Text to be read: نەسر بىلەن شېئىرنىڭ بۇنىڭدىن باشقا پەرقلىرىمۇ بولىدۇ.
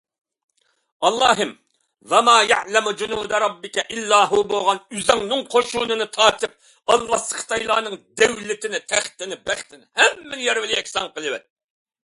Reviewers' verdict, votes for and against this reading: rejected, 0, 2